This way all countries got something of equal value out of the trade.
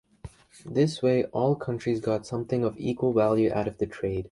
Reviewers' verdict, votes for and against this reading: accepted, 2, 1